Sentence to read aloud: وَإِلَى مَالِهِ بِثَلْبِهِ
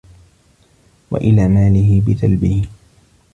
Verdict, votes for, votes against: accepted, 2, 0